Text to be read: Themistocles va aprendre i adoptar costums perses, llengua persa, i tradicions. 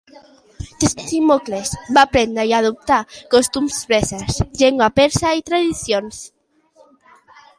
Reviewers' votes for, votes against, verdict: 1, 2, rejected